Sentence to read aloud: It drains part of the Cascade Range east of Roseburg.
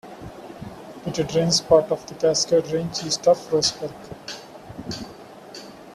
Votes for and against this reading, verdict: 0, 2, rejected